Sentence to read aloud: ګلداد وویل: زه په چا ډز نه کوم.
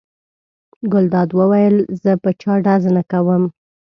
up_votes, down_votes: 2, 0